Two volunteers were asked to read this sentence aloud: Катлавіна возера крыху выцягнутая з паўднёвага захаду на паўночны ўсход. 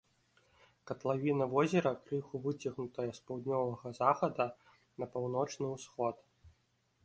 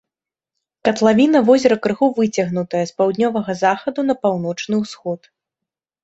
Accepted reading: second